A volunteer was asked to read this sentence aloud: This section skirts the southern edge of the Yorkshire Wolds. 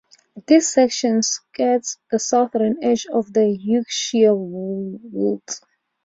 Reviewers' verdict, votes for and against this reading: accepted, 2, 1